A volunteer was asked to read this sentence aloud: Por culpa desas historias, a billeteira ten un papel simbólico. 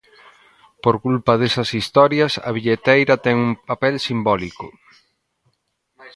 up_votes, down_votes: 2, 1